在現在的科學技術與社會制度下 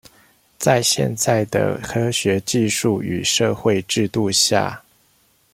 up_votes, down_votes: 2, 0